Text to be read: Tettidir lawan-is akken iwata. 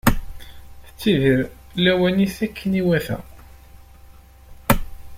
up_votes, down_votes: 1, 2